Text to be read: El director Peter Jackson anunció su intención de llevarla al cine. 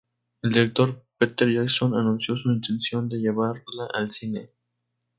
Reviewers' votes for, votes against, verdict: 0, 2, rejected